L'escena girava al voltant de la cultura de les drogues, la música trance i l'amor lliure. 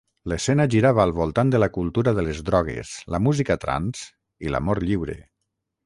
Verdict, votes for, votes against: accepted, 6, 0